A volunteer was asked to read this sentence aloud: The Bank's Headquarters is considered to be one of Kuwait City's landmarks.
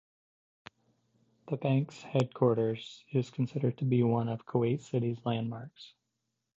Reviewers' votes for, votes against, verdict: 2, 1, accepted